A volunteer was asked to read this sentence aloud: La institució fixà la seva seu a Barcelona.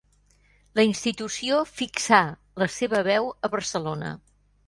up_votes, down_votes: 0, 2